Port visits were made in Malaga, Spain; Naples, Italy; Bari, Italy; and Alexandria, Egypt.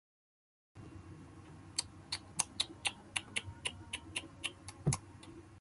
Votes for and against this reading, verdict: 0, 2, rejected